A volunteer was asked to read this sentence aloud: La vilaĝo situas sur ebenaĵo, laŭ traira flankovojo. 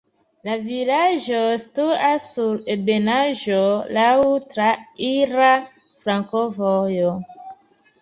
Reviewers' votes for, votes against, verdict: 0, 2, rejected